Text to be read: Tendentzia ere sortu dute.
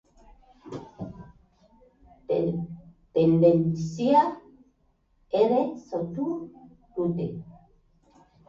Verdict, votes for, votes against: rejected, 0, 2